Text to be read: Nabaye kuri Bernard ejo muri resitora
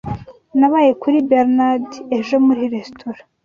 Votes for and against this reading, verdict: 2, 0, accepted